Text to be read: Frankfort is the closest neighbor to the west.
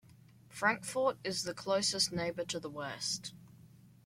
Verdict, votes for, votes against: accepted, 2, 0